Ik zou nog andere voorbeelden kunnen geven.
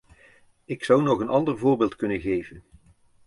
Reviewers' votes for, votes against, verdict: 0, 2, rejected